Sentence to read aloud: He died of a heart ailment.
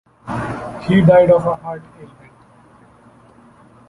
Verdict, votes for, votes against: rejected, 0, 2